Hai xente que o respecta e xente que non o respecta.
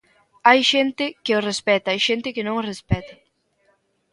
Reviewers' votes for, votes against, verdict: 2, 1, accepted